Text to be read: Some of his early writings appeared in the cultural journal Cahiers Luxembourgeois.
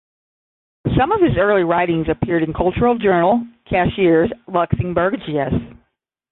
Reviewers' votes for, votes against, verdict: 0, 10, rejected